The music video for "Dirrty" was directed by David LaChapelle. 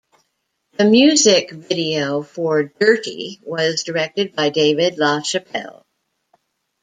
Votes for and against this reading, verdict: 2, 0, accepted